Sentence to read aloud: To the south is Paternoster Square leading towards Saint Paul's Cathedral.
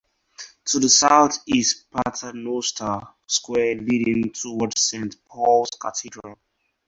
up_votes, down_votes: 4, 0